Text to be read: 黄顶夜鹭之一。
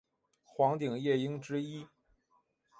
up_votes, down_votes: 2, 1